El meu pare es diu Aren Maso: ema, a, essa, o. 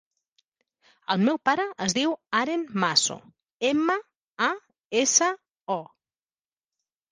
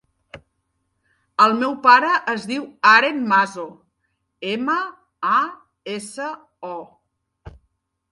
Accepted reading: second